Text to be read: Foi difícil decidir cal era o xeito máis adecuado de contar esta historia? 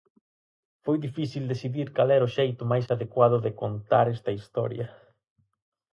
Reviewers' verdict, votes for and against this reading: accepted, 4, 0